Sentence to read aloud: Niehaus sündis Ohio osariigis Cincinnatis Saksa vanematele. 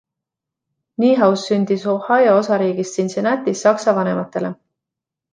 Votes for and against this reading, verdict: 2, 0, accepted